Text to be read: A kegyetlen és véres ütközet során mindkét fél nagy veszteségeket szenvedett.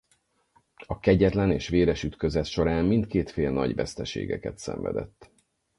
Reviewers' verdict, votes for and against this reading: accepted, 4, 0